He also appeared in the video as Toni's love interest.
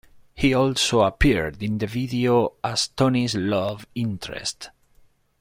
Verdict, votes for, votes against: accepted, 2, 1